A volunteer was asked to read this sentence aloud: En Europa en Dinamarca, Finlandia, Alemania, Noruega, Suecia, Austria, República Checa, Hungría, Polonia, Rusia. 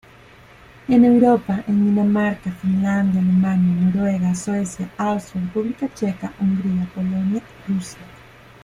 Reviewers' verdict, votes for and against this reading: accepted, 2, 1